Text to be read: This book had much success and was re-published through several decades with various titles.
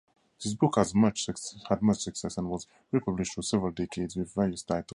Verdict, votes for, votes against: rejected, 0, 2